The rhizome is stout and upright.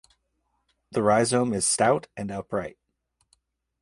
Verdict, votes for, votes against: accepted, 2, 0